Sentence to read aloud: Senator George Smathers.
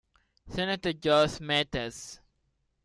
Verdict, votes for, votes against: accepted, 2, 1